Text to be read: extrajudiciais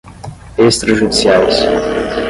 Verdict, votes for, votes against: rejected, 0, 5